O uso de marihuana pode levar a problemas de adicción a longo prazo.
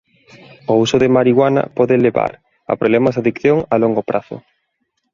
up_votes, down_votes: 2, 0